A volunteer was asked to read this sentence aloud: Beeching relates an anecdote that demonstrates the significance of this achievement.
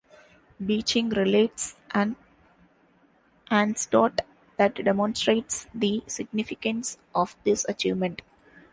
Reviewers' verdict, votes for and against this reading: rejected, 0, 3